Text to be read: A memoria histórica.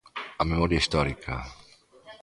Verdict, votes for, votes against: accepted, 2, 0